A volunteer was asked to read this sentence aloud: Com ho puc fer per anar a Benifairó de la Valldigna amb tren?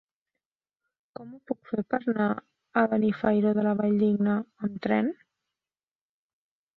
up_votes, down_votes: 0, 2